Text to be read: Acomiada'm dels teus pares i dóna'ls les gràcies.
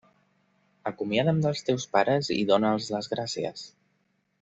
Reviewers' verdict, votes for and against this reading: accepted, 2, 0